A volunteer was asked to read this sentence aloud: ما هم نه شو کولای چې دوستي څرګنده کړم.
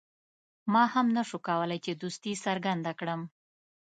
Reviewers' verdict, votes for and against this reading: accepted, 3, 1